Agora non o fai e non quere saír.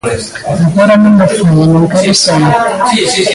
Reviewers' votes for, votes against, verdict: 0, 2, rejected